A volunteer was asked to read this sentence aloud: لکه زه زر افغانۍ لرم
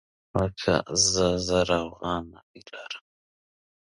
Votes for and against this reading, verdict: 1, 2, rejected